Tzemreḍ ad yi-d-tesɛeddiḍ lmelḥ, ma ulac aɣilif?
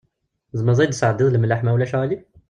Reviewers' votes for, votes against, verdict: 0, 2, rejected